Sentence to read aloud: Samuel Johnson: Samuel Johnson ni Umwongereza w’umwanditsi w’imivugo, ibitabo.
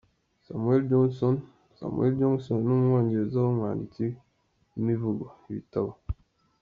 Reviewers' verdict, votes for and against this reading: accepted, 2, 1